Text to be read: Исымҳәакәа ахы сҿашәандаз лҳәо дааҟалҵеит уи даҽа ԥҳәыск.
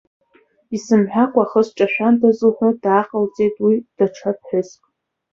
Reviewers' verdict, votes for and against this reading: accepted, 3, 1